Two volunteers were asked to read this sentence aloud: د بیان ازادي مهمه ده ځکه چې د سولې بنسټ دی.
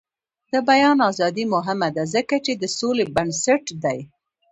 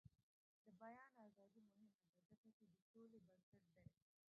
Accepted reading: first